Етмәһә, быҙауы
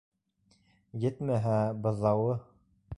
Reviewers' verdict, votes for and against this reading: accepted, 2, 0